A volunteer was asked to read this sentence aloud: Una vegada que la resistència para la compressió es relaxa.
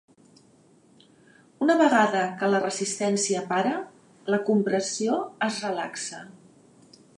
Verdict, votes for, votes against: accepted, 2, 1